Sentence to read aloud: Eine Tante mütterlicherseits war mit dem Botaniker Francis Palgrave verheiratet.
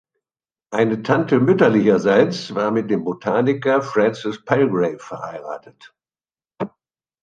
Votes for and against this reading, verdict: 2, 1, accepted